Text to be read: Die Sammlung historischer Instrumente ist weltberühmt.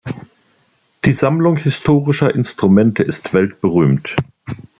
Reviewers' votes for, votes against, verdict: 2, 0, accepted